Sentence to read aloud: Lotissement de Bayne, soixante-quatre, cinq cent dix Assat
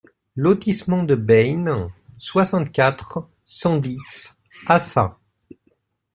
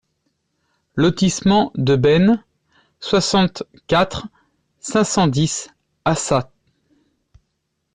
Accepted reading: second